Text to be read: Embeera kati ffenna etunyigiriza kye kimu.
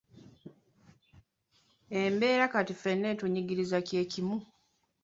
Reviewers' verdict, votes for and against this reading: accepted, 2, 0